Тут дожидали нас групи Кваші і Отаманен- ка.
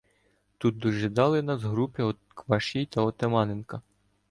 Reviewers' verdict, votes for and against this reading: rejected, 1, 2